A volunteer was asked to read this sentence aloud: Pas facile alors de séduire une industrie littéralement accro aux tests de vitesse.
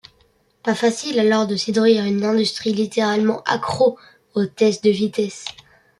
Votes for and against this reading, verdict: 1, 2, rejected